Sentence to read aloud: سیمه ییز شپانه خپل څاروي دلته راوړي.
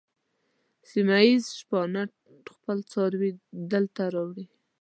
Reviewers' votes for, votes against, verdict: 3, 0, accepted